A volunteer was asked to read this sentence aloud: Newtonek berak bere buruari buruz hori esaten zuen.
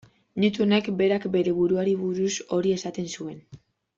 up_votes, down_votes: 1, 2